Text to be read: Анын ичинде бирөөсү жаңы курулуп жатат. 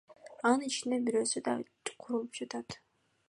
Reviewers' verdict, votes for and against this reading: rejected, 1, 2